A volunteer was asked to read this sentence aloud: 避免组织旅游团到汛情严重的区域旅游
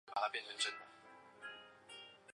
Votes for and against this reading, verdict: 0, 6, rejected